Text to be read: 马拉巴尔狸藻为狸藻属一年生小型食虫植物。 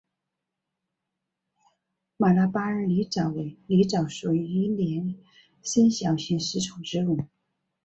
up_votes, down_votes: 2, 1